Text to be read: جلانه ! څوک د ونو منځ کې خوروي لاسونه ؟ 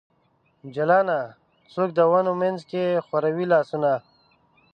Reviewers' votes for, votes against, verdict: 1, 2, rejected